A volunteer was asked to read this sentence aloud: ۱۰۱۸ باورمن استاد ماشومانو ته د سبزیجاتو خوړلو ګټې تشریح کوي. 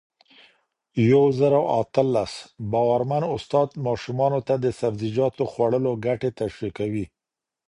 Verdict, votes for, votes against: rejected, 0, 2